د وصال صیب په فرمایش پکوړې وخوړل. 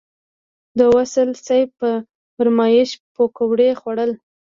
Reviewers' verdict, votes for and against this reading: accepted, 2, 0